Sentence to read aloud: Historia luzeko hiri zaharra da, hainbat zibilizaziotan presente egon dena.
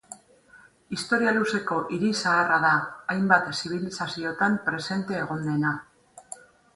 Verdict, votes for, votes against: accepted, 2, 0